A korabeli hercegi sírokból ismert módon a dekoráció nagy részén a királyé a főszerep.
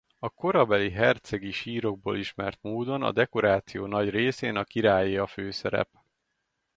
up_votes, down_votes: 2, 0